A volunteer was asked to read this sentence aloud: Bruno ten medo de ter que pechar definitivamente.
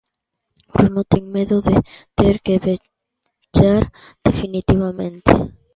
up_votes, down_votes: 0, 2